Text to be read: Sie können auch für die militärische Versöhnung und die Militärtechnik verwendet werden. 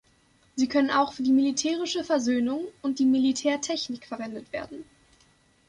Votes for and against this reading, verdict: 2, 0, accepted